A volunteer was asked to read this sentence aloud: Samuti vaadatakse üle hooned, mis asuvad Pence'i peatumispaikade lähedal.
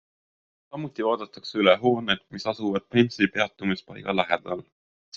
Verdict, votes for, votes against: rejected, 0, 2